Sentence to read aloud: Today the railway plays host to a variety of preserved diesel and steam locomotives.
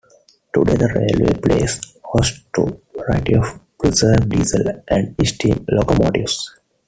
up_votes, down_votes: 2, 1